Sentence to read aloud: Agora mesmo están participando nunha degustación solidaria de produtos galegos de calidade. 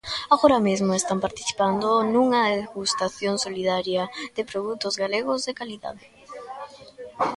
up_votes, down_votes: 2, 0